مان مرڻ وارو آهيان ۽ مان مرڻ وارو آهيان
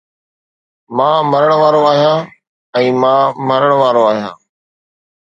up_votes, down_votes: 2, 0